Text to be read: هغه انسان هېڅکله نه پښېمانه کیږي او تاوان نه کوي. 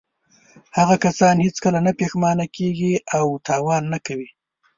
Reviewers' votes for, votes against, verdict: 0, 2, rejected